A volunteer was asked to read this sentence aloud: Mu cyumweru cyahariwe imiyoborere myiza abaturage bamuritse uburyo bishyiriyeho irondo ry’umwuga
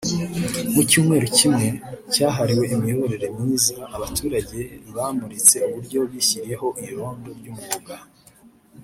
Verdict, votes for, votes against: rejected, 0, 2